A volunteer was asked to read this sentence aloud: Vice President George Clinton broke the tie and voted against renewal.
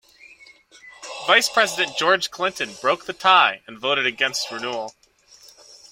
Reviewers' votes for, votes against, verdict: 2, 0, accepted